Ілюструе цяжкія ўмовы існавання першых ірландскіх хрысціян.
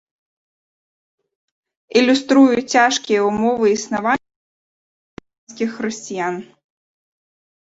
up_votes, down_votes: 0, 2